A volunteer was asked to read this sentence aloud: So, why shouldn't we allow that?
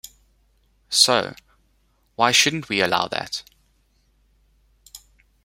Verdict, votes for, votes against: accepted, 2, 1